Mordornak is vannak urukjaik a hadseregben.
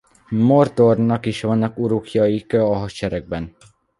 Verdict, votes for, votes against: rejected, 1, 2